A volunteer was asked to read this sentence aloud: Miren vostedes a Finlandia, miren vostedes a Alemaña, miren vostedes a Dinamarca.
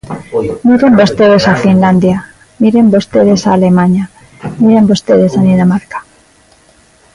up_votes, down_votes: 2, 0